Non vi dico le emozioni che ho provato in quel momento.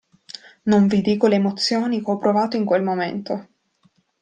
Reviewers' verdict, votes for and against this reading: rejected, 1, 2